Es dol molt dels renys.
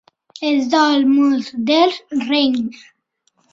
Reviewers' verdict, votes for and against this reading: rejected, 1, 2